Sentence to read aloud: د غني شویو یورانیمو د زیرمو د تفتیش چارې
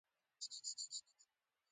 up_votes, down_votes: 1, 2